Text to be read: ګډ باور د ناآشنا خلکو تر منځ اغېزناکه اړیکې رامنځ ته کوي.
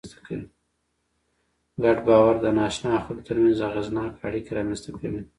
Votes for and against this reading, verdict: 0, 2, rejected